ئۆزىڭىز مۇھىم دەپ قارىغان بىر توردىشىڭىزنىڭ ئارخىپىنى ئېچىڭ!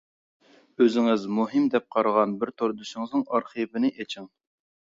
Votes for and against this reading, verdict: 2, 0, accepted